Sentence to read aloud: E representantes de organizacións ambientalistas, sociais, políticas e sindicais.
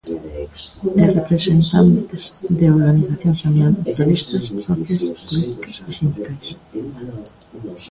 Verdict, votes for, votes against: rejected, 0, 2